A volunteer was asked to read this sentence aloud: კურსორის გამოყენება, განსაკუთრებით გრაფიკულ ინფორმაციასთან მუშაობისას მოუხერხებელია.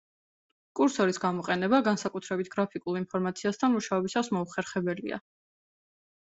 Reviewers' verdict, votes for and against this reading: accepted, 2, 0